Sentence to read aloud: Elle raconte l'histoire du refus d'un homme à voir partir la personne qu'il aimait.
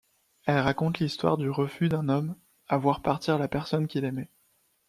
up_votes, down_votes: 2, 0